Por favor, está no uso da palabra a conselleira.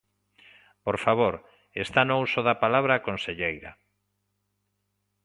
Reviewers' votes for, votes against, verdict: 2, 0, accepted